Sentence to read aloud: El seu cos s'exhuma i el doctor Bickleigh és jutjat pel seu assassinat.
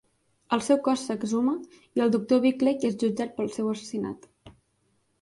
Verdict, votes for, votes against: accepted, 3, 0